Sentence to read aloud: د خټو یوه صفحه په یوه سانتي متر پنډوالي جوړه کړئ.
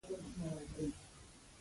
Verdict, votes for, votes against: rejected, 0, 2